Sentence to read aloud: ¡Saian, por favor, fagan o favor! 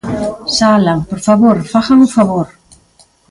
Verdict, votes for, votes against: rejected, 1, 2